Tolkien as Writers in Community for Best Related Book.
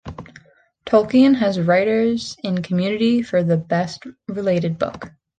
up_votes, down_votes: 0, 2